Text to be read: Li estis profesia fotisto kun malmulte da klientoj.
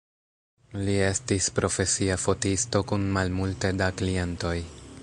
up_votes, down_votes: 2, 0